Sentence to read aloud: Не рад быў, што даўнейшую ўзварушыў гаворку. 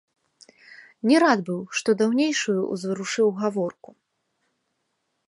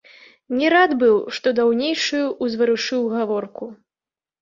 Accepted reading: first